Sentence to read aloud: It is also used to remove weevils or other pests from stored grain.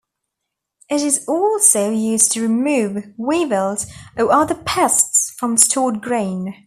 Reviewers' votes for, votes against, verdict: 2, 0, accepted